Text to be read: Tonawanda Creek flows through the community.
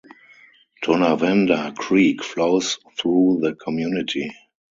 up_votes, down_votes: 2, 2